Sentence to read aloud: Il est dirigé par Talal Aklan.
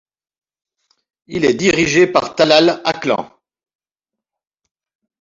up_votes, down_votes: 2, 1